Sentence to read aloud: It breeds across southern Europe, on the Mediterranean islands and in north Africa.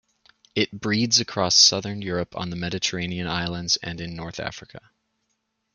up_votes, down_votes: 2, 0